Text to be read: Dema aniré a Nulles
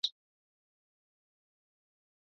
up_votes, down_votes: 0, 2